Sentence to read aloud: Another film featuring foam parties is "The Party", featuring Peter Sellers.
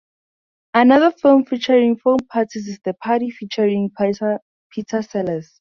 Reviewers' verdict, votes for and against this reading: rejected, 0, 2